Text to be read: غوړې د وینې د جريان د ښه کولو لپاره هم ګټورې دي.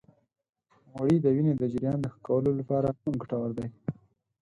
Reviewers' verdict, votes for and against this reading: accepted, 10, 8